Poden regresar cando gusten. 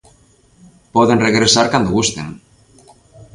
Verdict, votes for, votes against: accepted, 2, 0